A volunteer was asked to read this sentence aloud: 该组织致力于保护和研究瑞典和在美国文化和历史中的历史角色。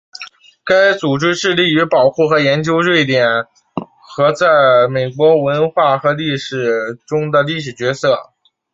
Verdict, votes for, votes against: accepted, 2, 0